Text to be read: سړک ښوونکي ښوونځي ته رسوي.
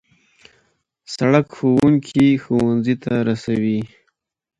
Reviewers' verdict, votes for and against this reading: accepted, 2, 0